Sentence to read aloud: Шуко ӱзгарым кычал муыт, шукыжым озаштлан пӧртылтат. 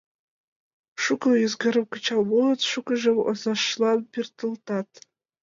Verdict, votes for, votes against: rejected, 0, 2